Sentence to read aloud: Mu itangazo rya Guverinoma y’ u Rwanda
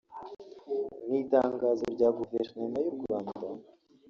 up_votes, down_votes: 3, 2